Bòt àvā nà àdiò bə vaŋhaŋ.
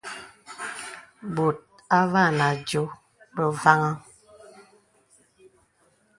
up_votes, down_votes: 2, 0